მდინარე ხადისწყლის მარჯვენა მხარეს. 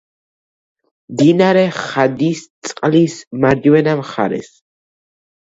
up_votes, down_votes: 2, 1